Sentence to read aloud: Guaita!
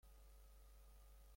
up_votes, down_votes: 0, 2